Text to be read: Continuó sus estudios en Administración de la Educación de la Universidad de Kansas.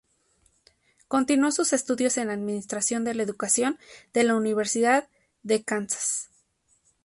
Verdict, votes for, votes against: accepted, 2, 0